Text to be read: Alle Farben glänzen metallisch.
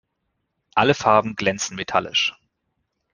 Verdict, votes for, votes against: accepted, 2, 0